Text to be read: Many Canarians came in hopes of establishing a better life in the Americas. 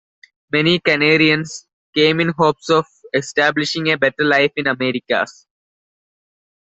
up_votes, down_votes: 0, 2